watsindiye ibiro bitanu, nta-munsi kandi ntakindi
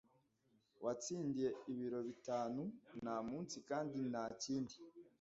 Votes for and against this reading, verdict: 0, 2, rejected